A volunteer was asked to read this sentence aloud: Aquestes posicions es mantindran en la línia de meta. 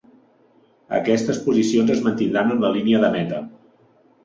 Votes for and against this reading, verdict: 3, 0, accepted